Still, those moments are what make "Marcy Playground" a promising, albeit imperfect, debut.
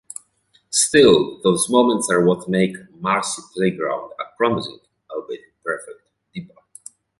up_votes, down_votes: 2, 0